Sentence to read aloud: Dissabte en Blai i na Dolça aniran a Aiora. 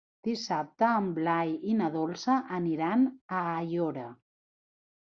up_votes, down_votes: 3, 0